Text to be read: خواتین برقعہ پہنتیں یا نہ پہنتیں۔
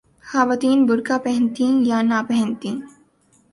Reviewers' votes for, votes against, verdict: 2, 0, accepted